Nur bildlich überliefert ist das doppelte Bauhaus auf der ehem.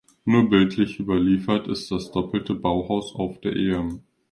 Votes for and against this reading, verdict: 2, 0, accepted